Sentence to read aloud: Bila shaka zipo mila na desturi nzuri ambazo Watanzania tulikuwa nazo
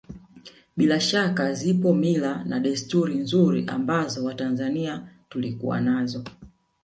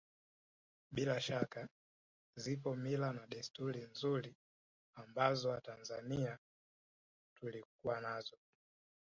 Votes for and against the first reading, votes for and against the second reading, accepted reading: 1, 2, 2, 1, second